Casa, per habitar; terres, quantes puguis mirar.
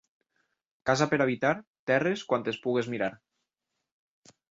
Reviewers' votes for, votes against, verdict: 1, 2, rejected